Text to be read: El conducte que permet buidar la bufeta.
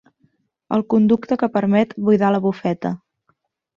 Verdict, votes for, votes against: accepted, 3, 0